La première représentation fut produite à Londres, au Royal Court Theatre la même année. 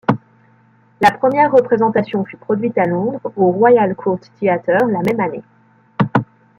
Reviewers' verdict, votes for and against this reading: rejected, 1, 2